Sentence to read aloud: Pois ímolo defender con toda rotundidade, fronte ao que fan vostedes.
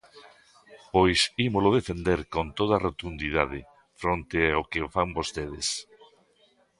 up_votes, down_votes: 0, 2